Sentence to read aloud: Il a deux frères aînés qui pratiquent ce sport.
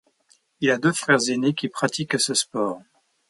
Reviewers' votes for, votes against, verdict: 2, 0, accepted